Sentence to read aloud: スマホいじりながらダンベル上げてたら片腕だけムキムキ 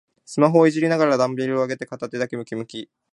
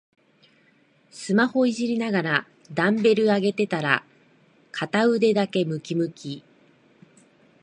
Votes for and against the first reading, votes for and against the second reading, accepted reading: 0, 2, 3, 0, second